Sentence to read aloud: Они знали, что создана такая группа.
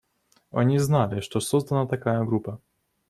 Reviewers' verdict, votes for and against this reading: accepted, 2, 0